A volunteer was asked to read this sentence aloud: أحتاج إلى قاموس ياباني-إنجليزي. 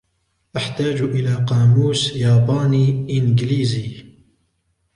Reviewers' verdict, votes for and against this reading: rejected, 1, 2